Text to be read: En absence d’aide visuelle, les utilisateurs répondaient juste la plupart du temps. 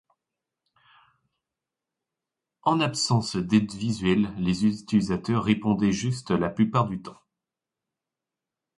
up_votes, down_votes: 2, 1